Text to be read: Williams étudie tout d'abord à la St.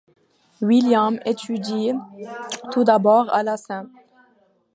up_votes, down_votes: 2, 0